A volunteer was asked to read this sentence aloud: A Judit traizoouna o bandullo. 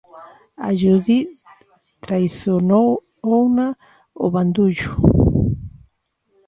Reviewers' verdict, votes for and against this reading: rejected, 0, 2